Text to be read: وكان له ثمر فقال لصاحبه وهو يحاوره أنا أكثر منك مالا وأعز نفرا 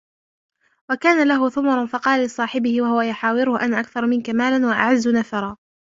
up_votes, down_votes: 1, 2